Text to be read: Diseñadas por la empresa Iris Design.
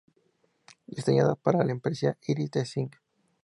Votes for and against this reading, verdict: 0, 2, rejected